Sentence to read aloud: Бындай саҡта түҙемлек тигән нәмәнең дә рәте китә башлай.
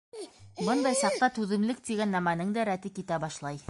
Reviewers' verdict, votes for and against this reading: rejected, 0, 2